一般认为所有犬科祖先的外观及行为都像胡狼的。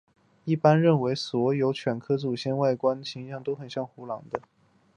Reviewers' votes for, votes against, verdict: 2, 2, rejected